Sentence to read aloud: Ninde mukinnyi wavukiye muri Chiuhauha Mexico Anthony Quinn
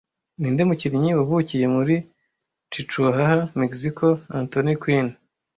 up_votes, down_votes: 1, 2